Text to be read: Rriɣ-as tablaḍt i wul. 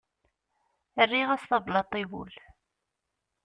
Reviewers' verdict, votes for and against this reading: accepted, 2, 0